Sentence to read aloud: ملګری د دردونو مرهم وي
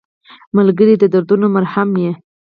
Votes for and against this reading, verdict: 2, 4, rejected